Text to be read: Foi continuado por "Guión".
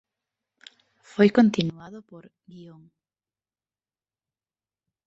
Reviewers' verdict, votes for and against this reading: rejected, 1, 2